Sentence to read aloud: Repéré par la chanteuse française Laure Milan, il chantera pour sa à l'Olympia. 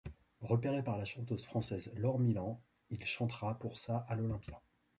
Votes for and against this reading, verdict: 1, 2, rejected